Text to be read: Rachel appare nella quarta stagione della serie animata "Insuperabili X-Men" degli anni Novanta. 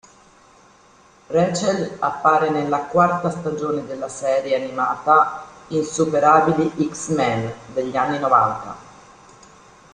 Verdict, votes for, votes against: accepted, 2, 0